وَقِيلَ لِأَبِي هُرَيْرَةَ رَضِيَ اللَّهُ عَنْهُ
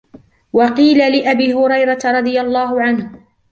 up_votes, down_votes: 1, 2